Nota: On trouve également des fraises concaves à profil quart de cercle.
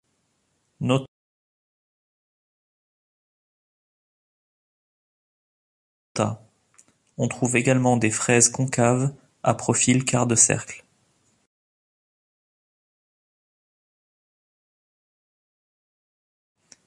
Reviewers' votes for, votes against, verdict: 0, 2, rejected